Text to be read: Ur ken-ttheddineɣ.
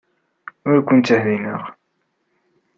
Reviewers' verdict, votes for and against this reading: rejected, 1, 2